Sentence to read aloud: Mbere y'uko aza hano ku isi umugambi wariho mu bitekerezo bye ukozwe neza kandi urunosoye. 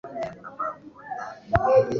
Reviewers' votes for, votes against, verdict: 0, 2, rejected